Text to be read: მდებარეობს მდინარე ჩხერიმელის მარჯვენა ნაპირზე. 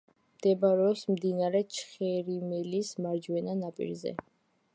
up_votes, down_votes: 0, 2